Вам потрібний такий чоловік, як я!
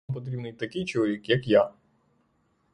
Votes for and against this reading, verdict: 0, 6, rejected